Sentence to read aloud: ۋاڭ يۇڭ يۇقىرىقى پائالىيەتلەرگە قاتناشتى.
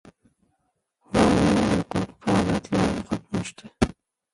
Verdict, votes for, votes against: rejected, 0, 2